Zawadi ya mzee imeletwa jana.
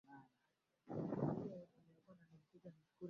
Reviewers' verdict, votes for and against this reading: rejected, 0, 2